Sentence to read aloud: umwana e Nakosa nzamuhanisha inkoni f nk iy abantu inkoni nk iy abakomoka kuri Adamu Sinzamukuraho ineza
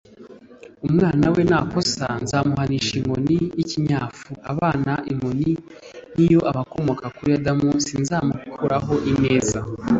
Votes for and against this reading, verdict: 0, 2, rejected